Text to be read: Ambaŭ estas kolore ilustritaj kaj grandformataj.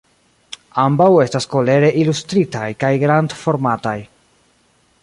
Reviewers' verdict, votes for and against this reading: rejected, 1, 2